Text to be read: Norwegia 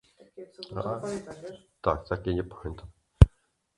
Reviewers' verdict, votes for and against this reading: rejected, 0, 2